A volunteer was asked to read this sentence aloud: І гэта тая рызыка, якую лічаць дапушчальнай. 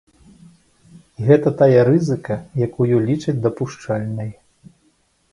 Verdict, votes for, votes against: accepted, 2, 0